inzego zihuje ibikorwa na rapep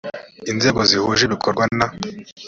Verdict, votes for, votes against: rejected, 1, 2